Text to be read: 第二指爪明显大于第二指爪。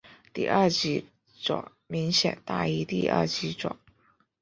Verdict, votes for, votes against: rejected, 0, 2